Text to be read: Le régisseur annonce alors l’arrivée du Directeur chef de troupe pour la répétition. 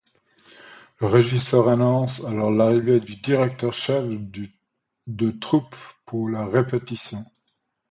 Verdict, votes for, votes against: rejected, 1, 2